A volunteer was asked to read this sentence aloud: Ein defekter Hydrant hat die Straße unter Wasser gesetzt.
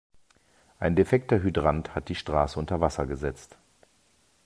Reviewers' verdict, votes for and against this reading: accepted, 2, 0